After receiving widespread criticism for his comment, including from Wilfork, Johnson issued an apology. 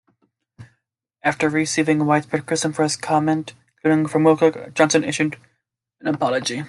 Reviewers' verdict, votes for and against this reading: rejected, 0, 2